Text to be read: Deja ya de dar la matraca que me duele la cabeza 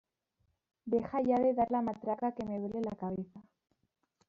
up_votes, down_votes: 1, 2